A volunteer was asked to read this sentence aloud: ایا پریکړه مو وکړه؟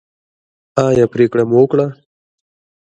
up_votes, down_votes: 2, 0